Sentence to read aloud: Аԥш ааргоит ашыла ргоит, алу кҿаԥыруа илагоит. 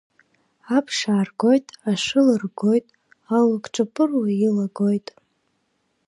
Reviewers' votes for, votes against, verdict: 3, 0, accepted